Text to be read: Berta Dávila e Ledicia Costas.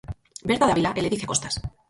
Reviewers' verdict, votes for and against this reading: rejected, 0, 4